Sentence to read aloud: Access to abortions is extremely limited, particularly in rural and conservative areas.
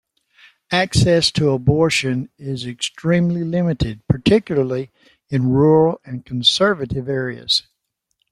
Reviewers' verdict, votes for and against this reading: accepted, 2, 1